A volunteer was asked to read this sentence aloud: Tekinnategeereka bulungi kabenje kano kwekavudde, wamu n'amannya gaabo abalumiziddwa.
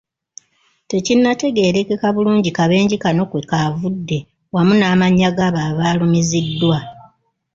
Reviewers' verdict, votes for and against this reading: accepted, 2, 1